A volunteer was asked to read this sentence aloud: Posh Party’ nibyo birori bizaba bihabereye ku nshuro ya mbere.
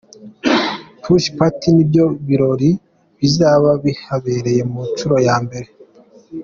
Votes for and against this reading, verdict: 2, 0, accepted